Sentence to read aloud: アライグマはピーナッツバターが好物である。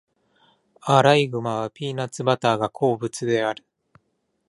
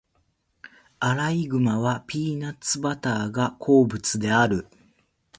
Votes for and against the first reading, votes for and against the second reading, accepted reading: 0, 2, 2, 0, second